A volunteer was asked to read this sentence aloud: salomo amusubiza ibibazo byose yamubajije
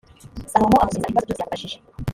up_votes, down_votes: 2, 3